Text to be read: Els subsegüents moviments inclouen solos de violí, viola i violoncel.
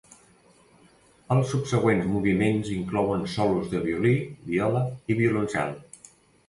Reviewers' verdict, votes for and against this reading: accepted, 2, 0